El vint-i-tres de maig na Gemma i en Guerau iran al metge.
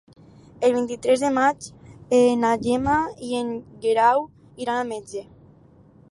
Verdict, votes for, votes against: accepted, 4, 2